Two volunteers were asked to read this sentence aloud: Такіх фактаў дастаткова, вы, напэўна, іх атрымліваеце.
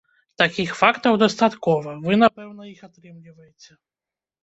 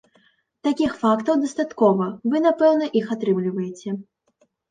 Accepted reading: second